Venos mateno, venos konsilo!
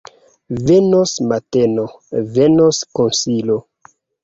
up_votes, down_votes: 0, 2